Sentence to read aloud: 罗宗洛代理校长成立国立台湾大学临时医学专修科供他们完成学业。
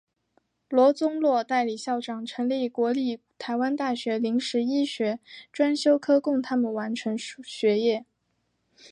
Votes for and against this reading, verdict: 2, 0, accepted